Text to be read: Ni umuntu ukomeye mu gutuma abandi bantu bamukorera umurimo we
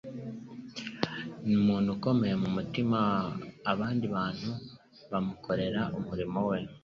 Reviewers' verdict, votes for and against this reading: accepted, 2, 1